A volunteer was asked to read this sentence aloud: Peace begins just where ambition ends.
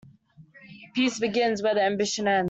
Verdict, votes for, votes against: rejected, 0, 2